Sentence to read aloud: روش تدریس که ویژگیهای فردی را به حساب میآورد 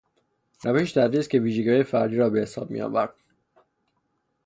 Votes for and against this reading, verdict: 3, 0, accepted